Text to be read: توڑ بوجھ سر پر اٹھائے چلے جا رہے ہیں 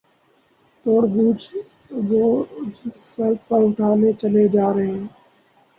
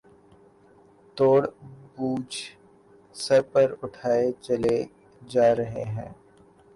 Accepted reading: second